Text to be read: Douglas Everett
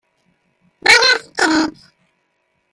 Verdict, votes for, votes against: rejected, 0, 2